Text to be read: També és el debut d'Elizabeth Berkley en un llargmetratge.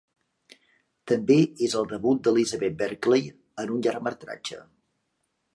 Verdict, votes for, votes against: accepted, 2, 0